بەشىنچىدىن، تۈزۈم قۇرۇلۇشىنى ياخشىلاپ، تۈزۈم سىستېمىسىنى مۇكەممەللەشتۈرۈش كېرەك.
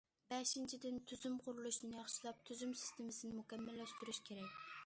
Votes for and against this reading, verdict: 2, 0, accepted